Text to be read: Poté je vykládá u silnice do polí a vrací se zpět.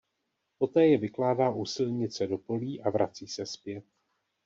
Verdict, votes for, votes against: accepted, 2, 0